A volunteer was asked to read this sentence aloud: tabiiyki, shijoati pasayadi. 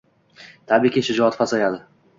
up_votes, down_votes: 2, 0